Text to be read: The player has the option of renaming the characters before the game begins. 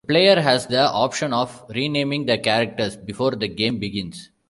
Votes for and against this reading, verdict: 3, 2, accepted